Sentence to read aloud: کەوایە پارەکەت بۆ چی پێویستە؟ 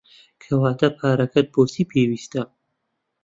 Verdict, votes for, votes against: rejected, 1, 2